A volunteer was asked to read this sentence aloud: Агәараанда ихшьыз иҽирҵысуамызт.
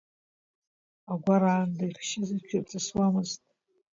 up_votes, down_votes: 1, 2